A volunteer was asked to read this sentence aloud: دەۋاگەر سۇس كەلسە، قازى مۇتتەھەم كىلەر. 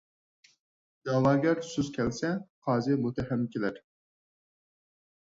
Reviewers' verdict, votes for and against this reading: accepted, 4, 0